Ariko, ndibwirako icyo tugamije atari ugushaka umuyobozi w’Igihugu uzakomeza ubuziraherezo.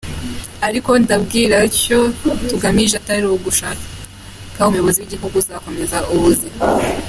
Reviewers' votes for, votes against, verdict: 0, 2, rejected